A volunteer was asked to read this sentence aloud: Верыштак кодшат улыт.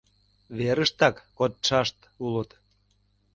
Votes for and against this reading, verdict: 0, 2, rejected